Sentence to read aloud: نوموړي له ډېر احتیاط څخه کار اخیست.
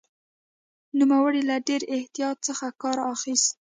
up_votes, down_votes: 0, 2